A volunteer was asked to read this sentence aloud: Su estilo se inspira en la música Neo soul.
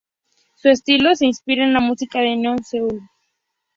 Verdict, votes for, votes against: rejected, 0, 2